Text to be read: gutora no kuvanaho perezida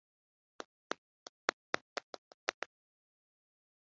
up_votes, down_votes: 1, 2